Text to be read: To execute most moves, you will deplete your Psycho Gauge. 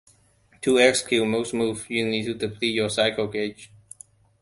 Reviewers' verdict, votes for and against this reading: rejected, 0, 2